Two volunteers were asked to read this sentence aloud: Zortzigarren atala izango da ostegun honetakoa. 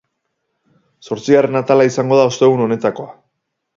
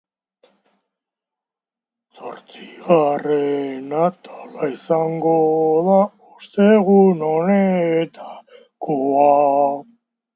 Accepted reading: first